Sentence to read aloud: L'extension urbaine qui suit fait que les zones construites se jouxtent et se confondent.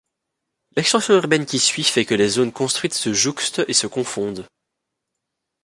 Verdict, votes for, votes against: accepted, 2, 0